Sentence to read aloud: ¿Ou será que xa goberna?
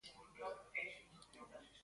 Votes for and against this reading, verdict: 0, 2, rejected